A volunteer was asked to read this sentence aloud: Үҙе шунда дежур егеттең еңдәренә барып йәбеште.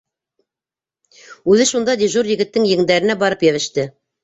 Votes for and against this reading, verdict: 2, 0, accepted